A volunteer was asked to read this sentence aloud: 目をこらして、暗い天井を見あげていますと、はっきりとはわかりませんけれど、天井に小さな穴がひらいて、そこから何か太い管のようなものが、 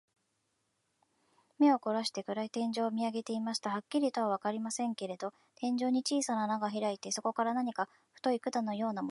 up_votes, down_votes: 0, 2